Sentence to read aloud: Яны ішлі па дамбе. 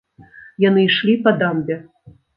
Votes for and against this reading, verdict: 2, 0, accepted